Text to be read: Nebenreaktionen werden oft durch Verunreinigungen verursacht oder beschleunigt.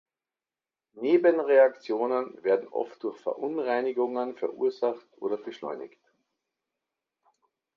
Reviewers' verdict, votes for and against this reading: accepted, 2, 0